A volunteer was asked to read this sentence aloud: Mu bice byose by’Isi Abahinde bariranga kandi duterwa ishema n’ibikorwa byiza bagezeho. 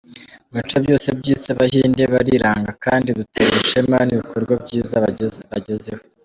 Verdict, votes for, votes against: accepted, 2, 0